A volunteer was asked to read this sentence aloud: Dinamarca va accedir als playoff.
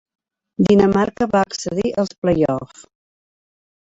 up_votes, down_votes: 2, 0